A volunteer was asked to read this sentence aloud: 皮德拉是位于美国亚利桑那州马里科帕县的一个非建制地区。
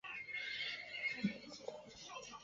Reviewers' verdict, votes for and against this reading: accepted, 5, 2